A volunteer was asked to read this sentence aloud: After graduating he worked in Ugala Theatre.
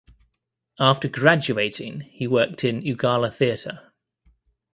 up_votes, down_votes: 2, 1